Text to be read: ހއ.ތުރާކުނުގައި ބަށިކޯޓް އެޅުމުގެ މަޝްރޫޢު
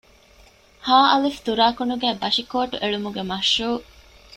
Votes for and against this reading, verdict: 2, 0, accepted